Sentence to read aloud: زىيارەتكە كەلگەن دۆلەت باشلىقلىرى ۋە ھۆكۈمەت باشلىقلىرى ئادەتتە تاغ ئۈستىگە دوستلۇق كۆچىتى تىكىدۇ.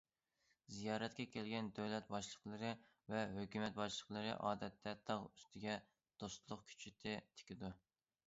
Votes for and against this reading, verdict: 2, 0, accepted